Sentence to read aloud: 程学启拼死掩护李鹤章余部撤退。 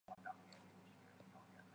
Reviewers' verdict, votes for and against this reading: rejected, 0, 3